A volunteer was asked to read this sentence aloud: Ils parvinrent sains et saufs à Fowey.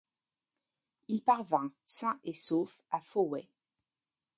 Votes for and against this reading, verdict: 1, 2, rejected